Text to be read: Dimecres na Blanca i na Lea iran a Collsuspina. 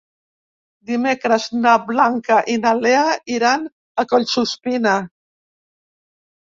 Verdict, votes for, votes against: accepted, 5, 0